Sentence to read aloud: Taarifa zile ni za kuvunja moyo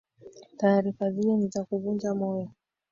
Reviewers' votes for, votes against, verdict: 1, 2, rejected